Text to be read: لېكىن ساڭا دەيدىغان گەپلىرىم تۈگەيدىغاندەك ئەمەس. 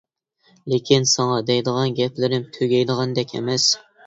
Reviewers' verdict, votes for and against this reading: accepted, 2, 0